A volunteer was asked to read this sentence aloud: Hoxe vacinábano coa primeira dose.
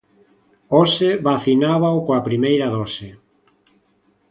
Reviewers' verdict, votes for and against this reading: rejected, 0, 2